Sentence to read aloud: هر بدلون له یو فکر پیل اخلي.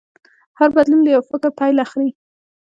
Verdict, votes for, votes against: accepted, 2, 0